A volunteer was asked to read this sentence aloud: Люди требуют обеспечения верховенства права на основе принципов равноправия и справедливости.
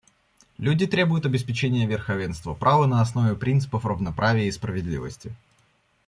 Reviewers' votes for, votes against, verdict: 2, 0, accepted